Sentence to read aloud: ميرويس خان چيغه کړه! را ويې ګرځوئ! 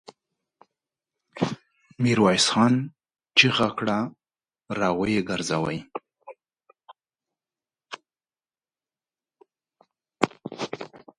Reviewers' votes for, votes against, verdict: 1, 2, rejected